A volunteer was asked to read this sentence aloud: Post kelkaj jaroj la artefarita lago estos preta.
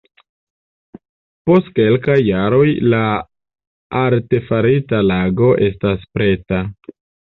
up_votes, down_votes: 1, 3